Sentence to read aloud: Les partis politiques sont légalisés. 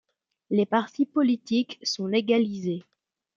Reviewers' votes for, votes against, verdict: 2, 0, accepted